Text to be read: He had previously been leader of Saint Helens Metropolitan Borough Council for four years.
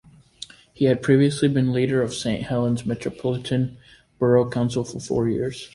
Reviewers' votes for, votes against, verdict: 2, 0, accepted